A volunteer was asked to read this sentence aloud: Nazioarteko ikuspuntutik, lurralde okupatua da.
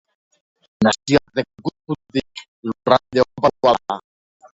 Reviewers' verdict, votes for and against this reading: rejected, 0, 2